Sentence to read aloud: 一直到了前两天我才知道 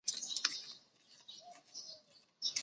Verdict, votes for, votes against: rejected, 0, 2